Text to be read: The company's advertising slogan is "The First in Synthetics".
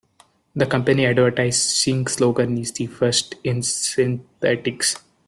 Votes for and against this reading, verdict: 0, 2, rejected